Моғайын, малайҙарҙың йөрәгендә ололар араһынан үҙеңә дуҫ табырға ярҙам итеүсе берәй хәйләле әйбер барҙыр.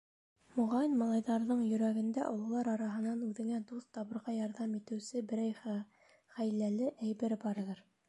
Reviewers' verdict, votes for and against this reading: rejected, 1, 2